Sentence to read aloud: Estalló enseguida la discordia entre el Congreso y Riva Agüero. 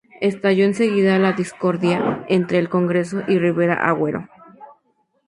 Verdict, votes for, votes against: rejected, 0, 2